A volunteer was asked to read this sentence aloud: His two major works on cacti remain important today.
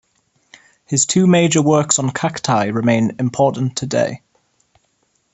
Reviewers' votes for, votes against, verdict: 2, 0, accepted